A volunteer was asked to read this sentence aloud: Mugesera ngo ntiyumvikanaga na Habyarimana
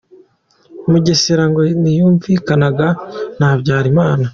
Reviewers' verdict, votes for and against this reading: accepted, 2, 0